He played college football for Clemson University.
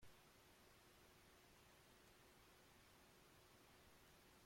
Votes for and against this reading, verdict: 0, 2, rejected